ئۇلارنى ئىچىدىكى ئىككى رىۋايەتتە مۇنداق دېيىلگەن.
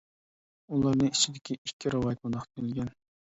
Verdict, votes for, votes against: rejected, 0, 2